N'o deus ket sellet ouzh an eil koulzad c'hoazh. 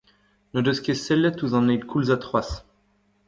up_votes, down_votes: 1, 2